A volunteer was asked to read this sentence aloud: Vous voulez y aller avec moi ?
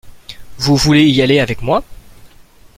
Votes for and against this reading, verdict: 2, 0, accepted